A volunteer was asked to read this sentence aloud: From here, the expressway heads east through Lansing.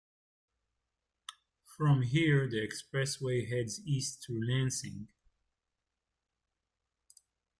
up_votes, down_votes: 2, 0